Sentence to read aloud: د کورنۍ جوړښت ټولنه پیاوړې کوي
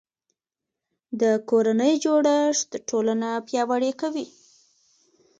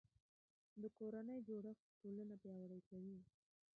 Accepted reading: first